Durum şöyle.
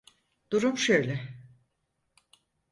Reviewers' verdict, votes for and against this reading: accepted, 4, 0